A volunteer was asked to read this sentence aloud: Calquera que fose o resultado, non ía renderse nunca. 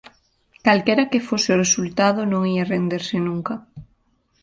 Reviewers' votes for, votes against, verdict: 2, 0, accepted